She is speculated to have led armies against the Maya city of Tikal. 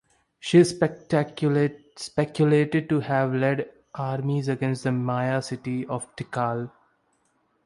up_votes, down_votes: 1, 2